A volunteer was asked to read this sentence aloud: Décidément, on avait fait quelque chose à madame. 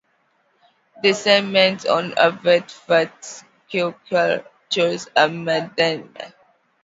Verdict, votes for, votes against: accepted, 2, 1